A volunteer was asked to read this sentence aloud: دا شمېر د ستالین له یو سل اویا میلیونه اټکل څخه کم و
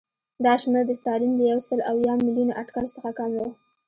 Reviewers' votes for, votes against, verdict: 1, 2, rejected